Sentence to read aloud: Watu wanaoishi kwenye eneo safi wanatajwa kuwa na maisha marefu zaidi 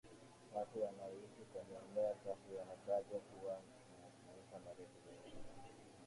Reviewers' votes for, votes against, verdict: 0, 2, rejected